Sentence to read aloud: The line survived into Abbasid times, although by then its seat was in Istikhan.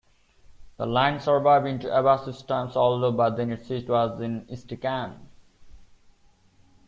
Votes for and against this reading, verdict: 2, 1, accepted